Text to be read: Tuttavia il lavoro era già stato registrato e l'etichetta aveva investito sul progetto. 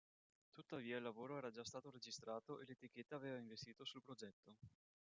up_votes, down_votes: 1, 2